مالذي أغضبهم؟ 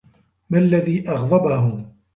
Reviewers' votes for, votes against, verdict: 2, 1, accepted